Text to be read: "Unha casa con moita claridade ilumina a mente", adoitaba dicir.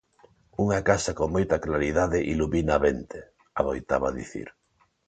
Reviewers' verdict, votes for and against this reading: accepted, 2, 0